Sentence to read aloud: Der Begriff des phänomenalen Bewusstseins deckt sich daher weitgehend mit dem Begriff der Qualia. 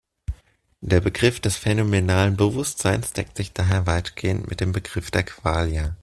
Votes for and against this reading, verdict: 2, 0, accepted